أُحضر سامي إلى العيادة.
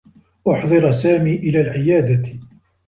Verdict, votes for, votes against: rejected, 2, 3